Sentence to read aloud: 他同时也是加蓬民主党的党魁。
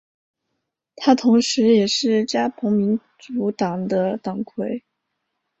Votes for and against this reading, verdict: 2, 0, accepted